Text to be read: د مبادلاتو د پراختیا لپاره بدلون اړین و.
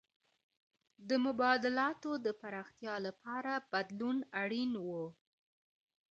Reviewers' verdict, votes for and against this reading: accepted, 2, 0